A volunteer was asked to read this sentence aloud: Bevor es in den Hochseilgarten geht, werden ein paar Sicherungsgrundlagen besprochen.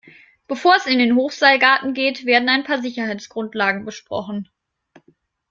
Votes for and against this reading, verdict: 0, 2, rejected